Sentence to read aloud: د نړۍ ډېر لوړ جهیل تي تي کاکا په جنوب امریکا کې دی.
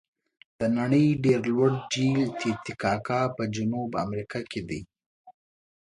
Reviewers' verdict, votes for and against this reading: accepted, 2, 0